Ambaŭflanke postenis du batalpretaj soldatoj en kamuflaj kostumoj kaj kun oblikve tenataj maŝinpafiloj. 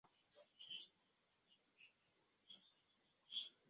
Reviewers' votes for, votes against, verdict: 0, 2, rejected